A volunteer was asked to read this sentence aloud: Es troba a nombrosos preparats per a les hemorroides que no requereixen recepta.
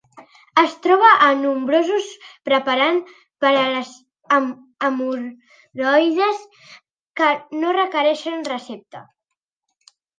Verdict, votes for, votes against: rejected, 0, 2